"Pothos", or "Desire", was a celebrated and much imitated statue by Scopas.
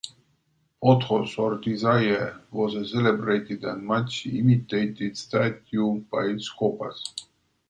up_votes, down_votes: 2, 0